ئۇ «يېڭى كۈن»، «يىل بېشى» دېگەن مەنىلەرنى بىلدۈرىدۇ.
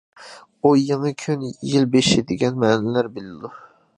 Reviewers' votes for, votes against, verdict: 0, 2, rejected